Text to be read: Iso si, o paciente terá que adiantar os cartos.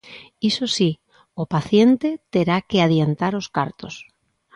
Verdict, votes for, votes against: accepted, 3, 0